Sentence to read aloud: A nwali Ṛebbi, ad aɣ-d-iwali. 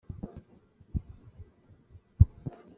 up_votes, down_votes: 0, 2